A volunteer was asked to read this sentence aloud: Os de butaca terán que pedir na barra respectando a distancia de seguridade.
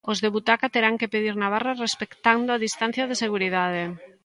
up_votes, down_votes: 2, 0